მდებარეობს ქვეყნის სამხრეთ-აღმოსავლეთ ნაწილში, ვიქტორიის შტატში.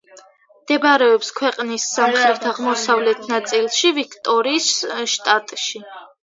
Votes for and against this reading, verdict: 2, 1, accepted